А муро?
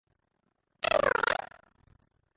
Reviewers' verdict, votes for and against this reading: rejected, 0, 2